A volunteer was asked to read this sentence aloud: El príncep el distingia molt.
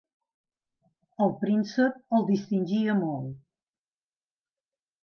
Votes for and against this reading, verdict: 2, 0, accepted